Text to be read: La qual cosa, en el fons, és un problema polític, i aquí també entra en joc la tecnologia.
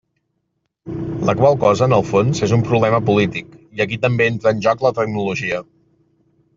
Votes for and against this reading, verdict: 1, 2, rejected